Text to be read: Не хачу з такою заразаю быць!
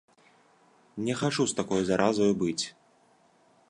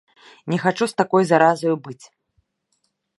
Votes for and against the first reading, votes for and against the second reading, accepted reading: 2, 0, 0, 2, first